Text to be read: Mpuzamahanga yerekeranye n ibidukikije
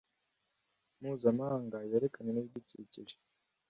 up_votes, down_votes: 1, 2